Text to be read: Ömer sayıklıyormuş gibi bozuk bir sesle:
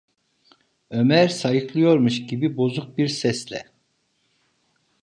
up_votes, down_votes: 2, 0